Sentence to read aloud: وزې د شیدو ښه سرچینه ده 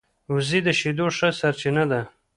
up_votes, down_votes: 1, 2